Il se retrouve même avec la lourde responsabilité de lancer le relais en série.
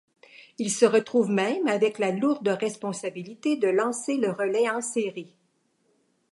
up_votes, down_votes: 2, 0